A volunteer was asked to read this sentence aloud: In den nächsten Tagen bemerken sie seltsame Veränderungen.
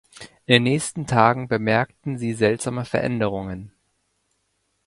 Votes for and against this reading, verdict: 1, 2, rejected